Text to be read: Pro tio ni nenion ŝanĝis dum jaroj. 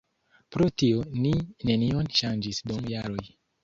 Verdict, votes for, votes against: accepted, 2, 0